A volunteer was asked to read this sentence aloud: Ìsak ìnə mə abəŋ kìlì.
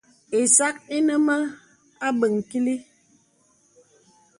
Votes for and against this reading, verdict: 2, 0, accepted